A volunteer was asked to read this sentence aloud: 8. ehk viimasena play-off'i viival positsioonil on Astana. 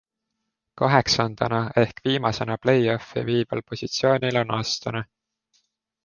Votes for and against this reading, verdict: 0, 2, rejected